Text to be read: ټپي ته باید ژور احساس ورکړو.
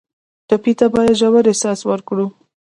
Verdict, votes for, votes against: rejected, 0, 2